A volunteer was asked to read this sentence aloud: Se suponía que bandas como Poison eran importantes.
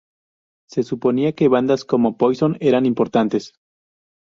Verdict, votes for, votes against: accepted, 2, 0